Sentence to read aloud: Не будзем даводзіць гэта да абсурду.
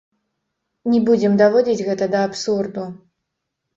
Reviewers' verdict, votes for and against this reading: rejected, 0, 3